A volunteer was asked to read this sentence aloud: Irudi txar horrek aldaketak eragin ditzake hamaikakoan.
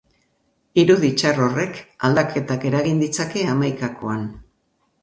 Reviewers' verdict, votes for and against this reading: accepted, 2, 0